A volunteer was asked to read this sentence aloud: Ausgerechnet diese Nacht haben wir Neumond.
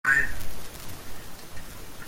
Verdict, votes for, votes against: rejected, 0, 3